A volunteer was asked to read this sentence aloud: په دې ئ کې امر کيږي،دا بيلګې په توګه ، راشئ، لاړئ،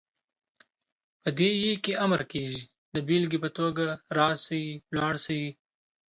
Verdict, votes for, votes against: rejected, 1, 2